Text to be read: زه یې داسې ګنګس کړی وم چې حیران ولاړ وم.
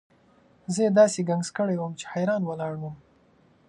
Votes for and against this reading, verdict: 2, 1, accepted